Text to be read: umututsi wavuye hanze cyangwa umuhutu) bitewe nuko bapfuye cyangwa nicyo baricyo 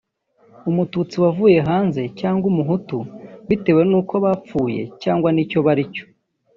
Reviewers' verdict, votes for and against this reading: rejected, 1, 2